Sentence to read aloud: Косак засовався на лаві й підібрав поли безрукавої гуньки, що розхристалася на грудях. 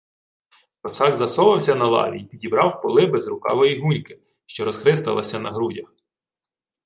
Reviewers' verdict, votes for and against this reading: accepted, 2, 0